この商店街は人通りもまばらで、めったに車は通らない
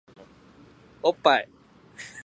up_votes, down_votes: 0, 2